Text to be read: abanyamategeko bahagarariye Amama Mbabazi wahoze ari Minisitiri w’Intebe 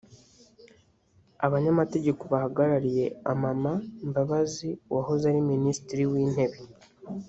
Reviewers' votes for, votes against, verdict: 0, 2, rejected